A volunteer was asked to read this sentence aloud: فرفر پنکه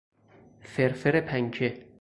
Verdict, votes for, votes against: accepted, 4, 0